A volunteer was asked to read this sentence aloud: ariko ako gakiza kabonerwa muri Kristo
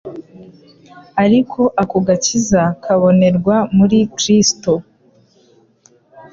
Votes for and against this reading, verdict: 2, 0, accepted